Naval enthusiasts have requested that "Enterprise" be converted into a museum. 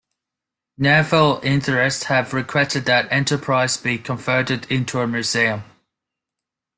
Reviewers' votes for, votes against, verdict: 1, 2, rejected